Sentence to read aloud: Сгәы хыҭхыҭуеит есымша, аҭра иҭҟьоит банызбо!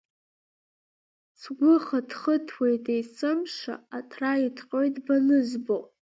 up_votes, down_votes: 2, 0